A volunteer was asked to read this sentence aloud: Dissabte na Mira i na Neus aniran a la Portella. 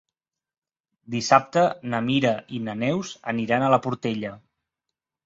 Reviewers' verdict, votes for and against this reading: accepted, 3, 0